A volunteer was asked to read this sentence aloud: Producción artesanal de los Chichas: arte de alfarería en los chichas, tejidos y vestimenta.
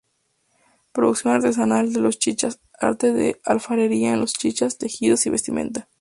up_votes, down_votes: 2, 0